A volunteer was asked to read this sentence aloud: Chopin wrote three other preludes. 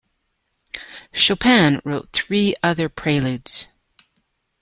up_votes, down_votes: 2, 0